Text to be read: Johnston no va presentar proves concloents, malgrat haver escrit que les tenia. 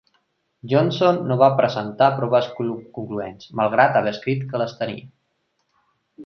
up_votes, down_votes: 2, 0